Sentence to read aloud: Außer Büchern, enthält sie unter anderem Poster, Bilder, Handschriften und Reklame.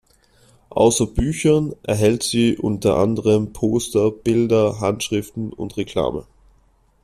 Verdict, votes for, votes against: rejected, 0, 2